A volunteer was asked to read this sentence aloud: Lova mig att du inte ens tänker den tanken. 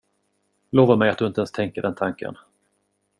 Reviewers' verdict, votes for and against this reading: accepted, 2, 0